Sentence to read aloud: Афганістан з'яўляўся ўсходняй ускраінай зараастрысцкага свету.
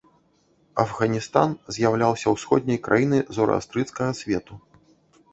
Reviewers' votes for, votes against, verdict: 0, 2, rejected